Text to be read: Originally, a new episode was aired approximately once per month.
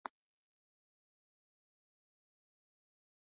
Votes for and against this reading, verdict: 0, 3, rejected